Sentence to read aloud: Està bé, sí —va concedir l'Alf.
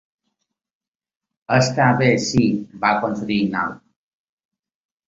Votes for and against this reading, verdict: 2, 1, accepted